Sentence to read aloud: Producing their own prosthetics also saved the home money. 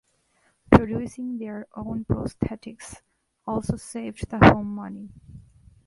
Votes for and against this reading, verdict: 2, 0, accepted